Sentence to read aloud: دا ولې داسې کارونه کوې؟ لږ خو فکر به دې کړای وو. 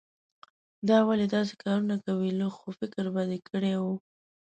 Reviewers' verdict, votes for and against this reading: accepted, 2, 0